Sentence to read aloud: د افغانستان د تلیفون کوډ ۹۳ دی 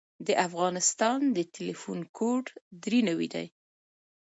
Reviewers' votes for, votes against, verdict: 0, 2, rejected